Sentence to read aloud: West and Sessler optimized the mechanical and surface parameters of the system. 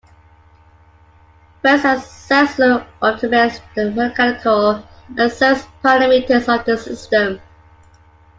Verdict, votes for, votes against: rejected, 0, 2